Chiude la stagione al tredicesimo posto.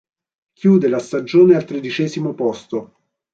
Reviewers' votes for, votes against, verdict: 2, 0, accepted